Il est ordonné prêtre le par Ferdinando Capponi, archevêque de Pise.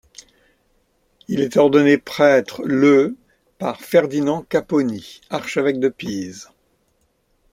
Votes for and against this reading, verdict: 1, 2, rejected